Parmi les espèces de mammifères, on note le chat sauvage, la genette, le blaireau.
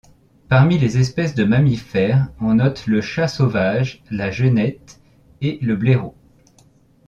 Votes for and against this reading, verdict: 1, 2, rejected